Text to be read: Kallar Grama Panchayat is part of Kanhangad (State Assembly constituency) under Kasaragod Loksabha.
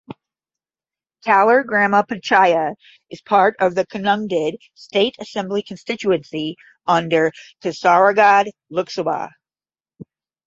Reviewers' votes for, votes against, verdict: 5, 5, rejected